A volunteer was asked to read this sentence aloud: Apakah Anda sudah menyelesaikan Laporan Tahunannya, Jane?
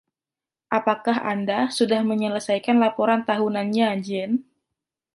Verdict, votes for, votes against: rejected, 0, 2